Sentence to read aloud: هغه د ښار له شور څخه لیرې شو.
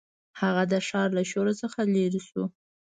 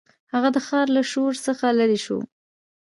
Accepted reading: first